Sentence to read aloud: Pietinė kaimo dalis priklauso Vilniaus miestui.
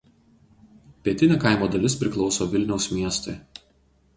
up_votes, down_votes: 4, 0